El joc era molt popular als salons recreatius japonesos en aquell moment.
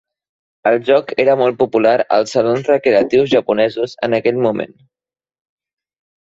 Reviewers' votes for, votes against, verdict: 1, 2, rejected